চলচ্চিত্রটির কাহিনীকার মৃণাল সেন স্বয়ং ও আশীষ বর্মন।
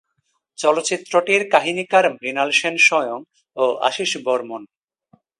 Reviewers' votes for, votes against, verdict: 2, 1, accepted